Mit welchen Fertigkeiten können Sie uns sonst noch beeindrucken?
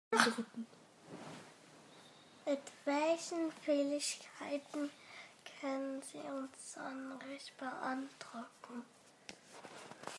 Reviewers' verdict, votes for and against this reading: rejected, 0, 2